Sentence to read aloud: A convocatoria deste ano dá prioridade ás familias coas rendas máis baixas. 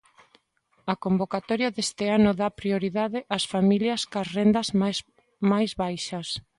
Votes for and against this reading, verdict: 0, 2, rejected